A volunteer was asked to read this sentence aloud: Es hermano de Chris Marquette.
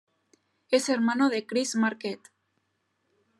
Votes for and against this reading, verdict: 2, 0, accepted